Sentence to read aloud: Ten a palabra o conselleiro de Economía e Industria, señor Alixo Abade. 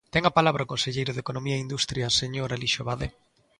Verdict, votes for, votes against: accepted, 3, 0